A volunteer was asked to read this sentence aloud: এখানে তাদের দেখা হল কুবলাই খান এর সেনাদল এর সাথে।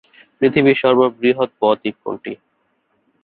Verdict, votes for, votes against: rejected, 1, 2